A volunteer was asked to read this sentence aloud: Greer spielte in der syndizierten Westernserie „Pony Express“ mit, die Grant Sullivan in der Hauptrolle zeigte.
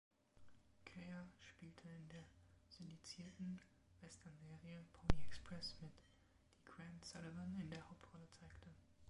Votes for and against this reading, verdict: 0, 2, rejected